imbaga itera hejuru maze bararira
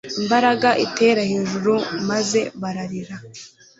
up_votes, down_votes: 1, 2